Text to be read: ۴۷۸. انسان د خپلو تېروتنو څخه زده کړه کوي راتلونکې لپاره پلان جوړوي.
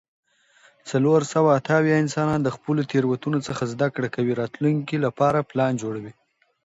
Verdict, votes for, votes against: rejected, 0, 2